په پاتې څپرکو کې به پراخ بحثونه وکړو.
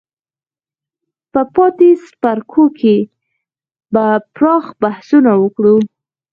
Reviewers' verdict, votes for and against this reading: accepted, 4, 0